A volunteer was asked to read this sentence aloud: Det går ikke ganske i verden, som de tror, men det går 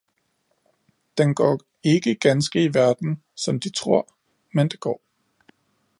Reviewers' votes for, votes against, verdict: 1, 2, rejected